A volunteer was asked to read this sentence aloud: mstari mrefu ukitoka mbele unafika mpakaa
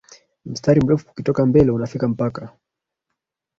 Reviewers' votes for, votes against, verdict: 2, 0, accepted